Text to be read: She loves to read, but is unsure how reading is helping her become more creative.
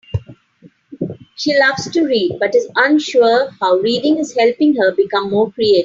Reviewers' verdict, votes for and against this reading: rejected, 0, 3